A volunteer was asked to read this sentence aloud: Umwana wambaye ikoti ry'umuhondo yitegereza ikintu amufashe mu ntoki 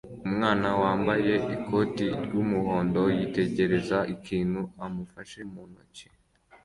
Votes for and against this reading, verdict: 2, 1, accepted